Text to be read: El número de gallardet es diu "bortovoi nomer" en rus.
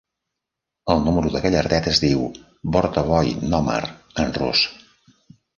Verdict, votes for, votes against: accepted, 2, 0